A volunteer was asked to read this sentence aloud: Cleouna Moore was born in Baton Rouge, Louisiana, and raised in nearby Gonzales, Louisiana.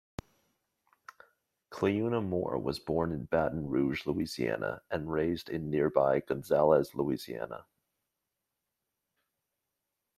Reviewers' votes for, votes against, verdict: 2, 0, accepted